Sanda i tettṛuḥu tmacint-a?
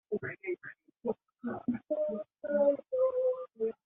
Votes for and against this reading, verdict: 0, 2, rejected